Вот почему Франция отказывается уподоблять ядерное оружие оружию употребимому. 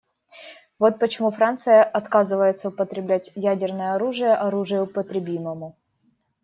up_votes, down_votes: 1, 2